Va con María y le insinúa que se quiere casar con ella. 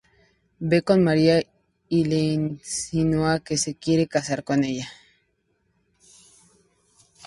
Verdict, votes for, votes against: rejected, 0, 4